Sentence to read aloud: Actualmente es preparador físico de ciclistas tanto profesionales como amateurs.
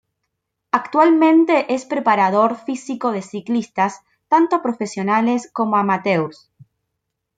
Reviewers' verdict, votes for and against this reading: accepted, 2, 0